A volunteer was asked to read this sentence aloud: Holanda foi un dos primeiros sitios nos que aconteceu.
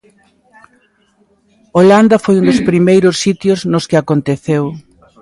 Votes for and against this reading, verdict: 2, 0, accepted